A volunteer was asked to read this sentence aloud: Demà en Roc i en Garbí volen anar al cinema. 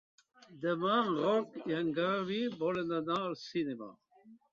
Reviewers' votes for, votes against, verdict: 0, 2, rejected